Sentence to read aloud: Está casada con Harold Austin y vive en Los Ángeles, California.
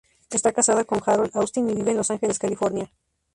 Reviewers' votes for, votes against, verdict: 0, 2, rejected